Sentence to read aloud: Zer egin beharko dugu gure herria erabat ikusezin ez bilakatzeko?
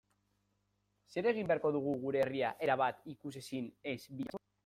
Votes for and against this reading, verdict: 0, 2, rejected